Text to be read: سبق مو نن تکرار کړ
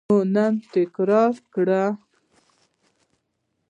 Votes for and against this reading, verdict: 1, 2, rejected